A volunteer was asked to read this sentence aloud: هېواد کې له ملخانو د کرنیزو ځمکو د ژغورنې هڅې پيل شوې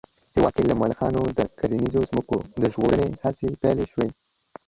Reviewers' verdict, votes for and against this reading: rejected, 0, 2